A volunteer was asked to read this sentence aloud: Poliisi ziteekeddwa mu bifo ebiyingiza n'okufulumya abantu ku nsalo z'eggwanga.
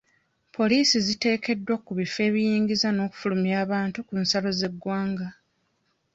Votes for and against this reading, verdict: 1, 2, rejected